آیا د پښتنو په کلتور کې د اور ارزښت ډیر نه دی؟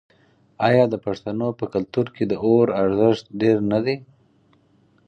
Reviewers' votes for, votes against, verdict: 4, 0, accepted